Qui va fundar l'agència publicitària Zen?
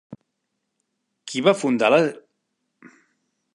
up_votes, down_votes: 0, 2